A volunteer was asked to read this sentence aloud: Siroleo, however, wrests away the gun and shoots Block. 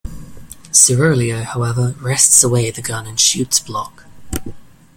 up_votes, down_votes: 2, 0